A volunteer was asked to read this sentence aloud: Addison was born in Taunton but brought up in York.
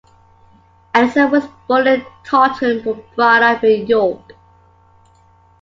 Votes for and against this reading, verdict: 0, 2, rejected